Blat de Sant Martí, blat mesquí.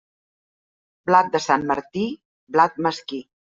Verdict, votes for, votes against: accepted, 3, 0